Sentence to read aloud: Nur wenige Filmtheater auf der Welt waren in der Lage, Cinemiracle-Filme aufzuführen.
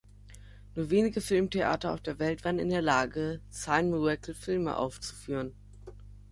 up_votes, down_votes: 0, 3